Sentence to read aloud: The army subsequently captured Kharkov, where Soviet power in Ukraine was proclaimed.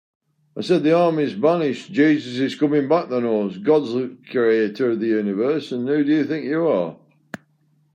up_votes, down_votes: 0, 2